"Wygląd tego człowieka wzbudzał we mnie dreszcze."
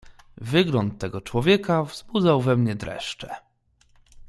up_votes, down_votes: 2, 0